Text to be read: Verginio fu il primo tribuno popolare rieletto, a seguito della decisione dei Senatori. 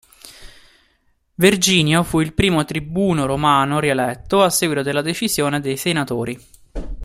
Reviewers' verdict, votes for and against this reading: rejected, 0, 2